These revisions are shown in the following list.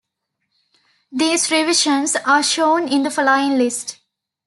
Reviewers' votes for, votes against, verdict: 1, 2, rejected